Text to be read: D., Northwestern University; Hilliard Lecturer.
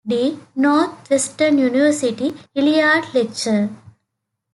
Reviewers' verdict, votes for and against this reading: accepted, 2, 1